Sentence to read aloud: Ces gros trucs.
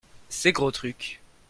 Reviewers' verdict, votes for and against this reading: accepted, 2, 0